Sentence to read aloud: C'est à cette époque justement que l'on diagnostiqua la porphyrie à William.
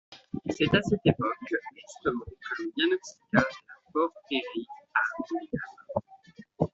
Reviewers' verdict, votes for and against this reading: rejected, 0, 2